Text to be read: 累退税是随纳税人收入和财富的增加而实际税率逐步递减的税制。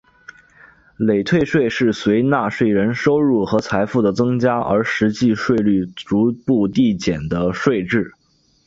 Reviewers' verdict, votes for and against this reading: accepted, 3, 1